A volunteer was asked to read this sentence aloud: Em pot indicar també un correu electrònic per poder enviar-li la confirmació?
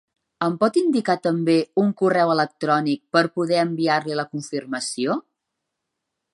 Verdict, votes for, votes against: accepted, 5, 0